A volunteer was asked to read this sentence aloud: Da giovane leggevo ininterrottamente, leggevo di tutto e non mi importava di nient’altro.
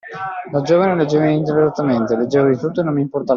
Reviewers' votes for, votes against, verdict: 0, 2, rejected